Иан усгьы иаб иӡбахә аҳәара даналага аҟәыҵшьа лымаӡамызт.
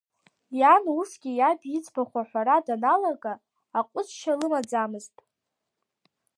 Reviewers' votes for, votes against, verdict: 2, 0, accepted